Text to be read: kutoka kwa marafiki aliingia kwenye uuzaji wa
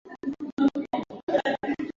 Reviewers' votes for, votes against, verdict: 0, 3, rejected